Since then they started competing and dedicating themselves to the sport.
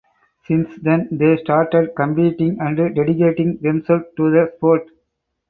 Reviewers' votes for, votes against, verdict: 2, 4, rejected